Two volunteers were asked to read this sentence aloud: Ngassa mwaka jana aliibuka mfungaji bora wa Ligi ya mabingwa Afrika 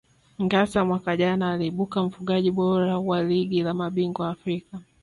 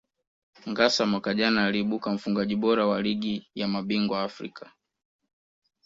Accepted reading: second